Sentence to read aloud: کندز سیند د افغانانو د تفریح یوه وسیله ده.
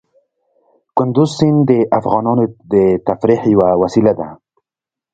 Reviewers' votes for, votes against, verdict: 1, 2, rejected